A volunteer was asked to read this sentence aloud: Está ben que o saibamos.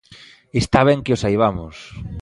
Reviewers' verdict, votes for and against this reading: accepted, 2, 0